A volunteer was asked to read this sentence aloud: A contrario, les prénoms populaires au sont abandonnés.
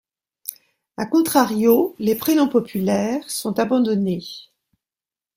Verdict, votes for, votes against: rejected, 1, 2